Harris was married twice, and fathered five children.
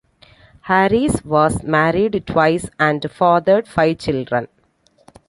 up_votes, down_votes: 2, 0